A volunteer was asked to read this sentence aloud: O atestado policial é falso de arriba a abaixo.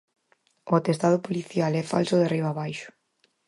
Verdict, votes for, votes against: accepted, 4, 0